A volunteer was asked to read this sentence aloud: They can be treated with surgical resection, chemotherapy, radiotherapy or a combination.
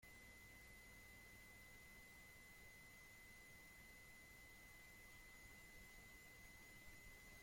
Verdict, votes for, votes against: rejected, 0, 2